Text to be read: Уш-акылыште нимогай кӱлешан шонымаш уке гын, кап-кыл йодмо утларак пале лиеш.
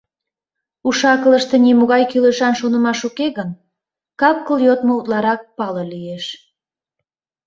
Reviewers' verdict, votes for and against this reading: accepted, 2, 0